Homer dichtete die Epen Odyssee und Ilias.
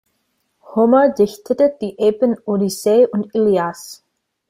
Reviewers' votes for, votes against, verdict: 2, 0, accepted